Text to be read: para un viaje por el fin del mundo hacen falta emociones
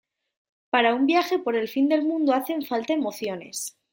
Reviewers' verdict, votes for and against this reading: accepted, 2, 0